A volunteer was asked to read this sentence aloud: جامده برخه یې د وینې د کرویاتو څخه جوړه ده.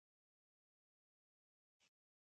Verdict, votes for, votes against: accepted, 2, 0